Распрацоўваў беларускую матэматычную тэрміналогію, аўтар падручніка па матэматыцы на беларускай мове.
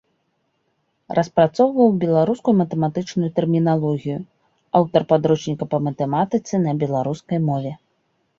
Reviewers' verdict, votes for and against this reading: accepted, 2, 0